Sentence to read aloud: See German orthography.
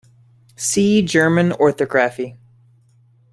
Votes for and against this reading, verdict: 0, 2, rejected